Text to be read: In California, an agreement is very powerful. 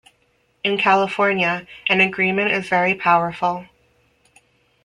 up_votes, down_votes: 2, 0